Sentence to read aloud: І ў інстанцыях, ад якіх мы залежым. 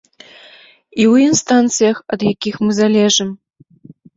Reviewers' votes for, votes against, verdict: 2, 0, accepted